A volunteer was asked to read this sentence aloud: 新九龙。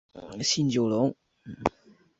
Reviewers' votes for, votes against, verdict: 4, 0, accepted